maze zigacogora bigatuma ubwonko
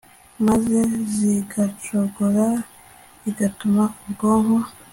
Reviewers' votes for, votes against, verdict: 2, 0, accepted